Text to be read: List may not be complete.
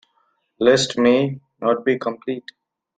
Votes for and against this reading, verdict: 2, 1, accepted